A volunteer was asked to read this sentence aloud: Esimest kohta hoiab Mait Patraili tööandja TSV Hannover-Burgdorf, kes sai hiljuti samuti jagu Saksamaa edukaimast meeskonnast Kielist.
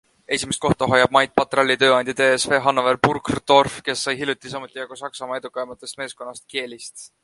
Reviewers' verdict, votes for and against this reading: accepted, 2, 1